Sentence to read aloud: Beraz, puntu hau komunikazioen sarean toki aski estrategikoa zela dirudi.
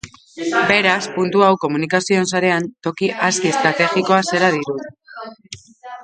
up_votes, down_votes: 2, 4